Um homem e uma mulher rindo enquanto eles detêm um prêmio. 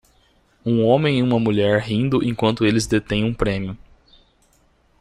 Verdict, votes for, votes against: rejected, 1, 2